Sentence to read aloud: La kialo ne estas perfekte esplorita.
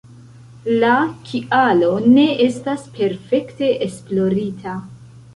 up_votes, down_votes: 2, 1